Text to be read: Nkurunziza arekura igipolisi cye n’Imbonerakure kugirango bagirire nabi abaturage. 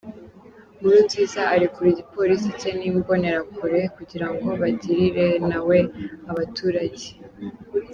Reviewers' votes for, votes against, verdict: 0, 2, rejected